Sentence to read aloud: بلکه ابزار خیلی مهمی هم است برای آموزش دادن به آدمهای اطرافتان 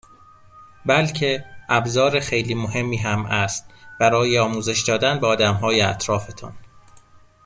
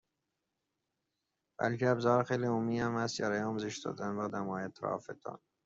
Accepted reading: first